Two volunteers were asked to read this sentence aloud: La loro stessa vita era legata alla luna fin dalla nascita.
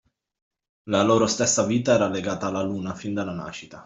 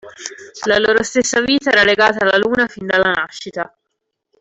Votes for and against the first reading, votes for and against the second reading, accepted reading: 2, 0, 1, 2, first